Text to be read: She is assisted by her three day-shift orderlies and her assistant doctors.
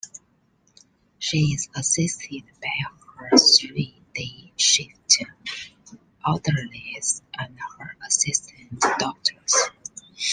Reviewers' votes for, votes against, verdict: 0, 2, rejected